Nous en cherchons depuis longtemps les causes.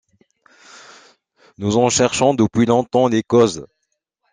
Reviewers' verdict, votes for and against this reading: accepted, 2, 0